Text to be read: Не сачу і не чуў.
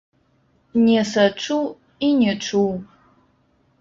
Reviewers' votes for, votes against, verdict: 1, 2, rejected